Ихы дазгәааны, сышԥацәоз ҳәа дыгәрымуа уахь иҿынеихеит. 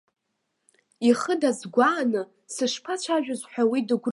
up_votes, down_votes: 1, 2